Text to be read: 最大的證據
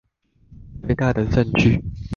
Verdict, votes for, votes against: rejected, 1, 2